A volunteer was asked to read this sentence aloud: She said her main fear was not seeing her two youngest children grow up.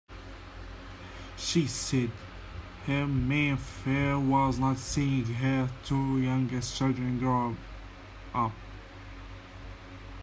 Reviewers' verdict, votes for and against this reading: rejected, 1, 2